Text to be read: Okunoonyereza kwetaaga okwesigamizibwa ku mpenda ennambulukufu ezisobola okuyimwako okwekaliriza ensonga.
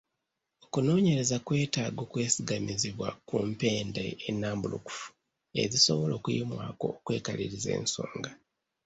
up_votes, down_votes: 2, 0